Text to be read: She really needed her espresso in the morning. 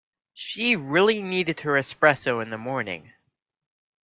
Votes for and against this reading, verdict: 2, 0, accepted